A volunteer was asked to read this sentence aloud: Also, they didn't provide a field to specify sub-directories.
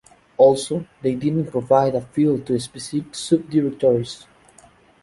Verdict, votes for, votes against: rejected, 1, 2